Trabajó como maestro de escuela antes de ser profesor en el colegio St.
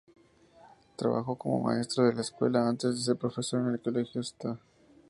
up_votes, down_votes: 0, 2